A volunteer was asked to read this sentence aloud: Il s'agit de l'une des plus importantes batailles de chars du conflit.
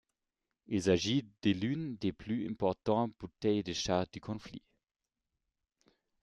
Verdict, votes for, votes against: rejected, 1, 2